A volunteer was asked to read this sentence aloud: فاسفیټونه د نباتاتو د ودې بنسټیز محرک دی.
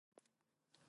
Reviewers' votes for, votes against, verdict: 0, 2, rejected